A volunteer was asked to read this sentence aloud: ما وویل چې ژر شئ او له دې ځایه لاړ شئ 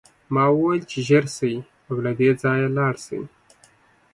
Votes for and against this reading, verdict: 2, 0, accepted